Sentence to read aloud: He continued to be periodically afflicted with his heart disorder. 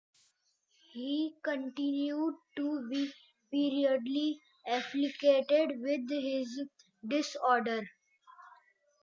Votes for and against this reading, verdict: 0, 2, rejected